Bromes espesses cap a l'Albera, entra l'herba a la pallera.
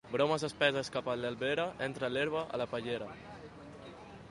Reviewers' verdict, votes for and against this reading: accepted, 2, 1